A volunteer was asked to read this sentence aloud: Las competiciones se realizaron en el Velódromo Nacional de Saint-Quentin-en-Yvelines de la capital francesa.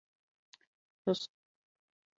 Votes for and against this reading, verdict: 0, 2, rejected